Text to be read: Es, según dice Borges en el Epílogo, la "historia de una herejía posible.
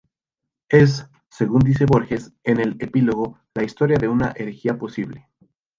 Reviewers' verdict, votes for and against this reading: rejected, 2, 2